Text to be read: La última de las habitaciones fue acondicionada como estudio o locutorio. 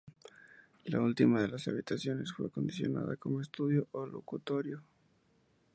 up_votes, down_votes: 4, 0